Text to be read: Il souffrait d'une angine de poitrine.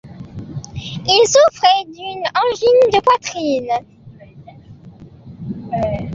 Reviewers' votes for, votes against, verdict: 1, 2, rejected